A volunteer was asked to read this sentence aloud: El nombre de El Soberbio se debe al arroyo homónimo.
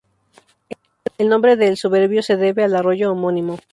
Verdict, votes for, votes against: rejected, 2, 2